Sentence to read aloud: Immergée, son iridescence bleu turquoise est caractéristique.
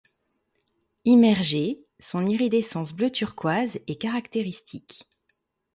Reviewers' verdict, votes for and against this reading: accepted, 4, 0